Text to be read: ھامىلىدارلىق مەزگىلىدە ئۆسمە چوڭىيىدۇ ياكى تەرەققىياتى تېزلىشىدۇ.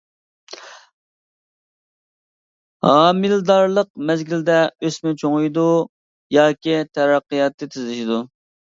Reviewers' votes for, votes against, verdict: 0, 2, rejected